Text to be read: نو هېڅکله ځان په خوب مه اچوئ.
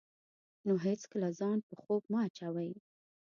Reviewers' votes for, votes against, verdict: 2, 0, accepted